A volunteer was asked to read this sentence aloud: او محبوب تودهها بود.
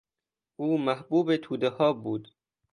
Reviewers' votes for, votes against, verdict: 2, 0, accepted